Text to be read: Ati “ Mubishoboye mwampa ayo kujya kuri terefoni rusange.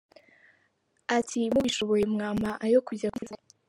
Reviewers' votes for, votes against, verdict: 0, 2, rejected